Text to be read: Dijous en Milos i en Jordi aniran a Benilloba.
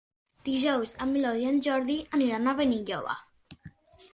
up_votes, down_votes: 1, 2